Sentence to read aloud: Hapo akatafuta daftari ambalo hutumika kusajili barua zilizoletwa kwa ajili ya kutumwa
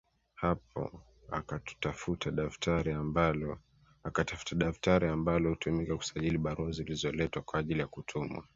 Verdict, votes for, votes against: rejected, 1, 2